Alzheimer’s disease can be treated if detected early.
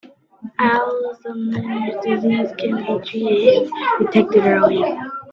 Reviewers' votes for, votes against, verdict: 0, 2, rejected